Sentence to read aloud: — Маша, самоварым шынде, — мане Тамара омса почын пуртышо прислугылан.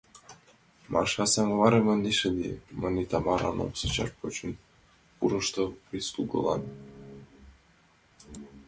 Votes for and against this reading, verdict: 1, 2, rejected